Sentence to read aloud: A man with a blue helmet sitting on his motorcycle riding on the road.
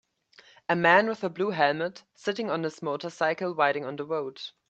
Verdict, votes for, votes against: accepted, 2, 0